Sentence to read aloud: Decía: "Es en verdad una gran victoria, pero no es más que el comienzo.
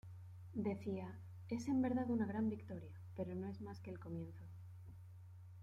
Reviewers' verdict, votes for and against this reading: accepted, 2, 0